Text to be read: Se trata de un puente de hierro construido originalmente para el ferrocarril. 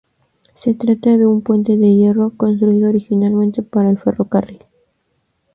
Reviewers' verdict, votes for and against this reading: rejected, 0, 2